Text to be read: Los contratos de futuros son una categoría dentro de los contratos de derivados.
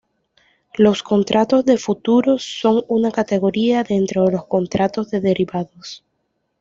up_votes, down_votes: 2, 0